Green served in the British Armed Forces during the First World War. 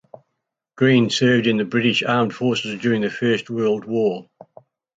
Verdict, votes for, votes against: accepted, 2, 0